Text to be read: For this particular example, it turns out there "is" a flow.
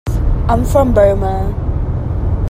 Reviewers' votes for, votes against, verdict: 1, 2, rejected